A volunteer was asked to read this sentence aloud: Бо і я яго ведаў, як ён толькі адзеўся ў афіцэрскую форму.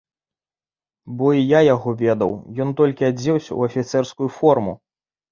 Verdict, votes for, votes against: rejected, 0, 2